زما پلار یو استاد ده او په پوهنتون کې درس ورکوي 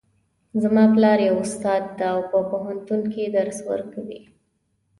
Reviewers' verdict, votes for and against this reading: accepted, 2, 0